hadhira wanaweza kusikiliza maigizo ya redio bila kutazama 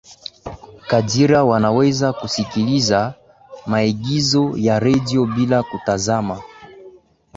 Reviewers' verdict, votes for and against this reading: accepted, 2, 1